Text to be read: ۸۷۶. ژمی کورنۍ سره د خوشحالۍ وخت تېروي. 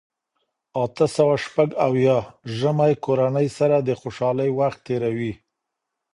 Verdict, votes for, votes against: rejected, 0, 2